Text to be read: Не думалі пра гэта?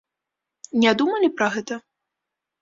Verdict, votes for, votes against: accepted, 3, 0